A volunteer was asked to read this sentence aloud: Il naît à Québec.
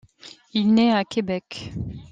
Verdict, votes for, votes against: accepted, 2, 0